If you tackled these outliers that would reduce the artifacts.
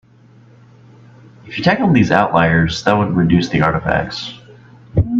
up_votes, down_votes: 1, 2